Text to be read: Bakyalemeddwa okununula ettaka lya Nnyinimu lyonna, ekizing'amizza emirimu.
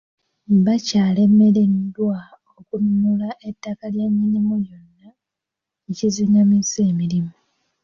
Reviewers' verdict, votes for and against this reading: rejected, 1, 2